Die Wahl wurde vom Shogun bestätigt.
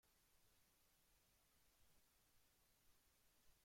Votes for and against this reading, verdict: 0, 2, rejected